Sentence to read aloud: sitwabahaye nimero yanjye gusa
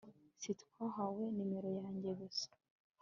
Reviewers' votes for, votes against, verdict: 1, 2, rejected